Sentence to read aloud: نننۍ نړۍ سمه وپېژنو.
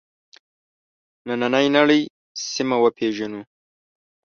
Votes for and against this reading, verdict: 0, 2, rejected